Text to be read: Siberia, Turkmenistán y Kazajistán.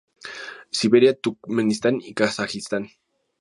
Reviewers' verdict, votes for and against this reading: rejected, 0, 2